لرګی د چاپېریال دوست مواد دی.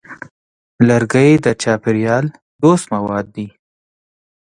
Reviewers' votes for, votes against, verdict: 2, 1, accepted